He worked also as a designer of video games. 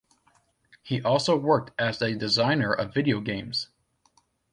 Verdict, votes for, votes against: rejected, 1, 2